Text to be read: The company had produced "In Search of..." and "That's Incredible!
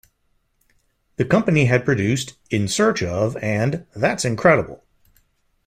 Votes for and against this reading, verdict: 2, 0, accepted